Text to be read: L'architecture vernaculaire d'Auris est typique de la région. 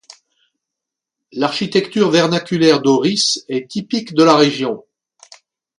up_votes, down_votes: 2, 0